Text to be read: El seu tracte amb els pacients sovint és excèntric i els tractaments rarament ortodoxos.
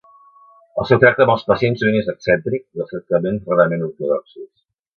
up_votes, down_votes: 0, 2